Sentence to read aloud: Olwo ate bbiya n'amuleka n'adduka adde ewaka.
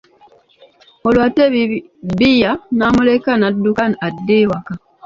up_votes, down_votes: 0, 2